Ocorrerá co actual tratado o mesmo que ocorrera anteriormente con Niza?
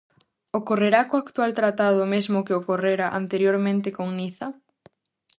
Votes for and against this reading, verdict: 2, 0, accepted